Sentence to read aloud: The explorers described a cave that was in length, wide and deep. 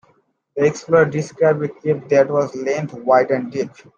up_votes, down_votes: 0, 2